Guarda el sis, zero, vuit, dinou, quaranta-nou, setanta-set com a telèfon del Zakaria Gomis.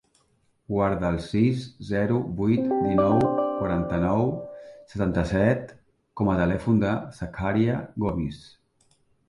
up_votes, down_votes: 0, 2